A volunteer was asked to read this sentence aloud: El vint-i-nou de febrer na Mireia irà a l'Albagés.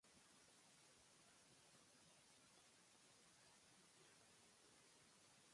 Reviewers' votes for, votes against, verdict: 0, 2, rejected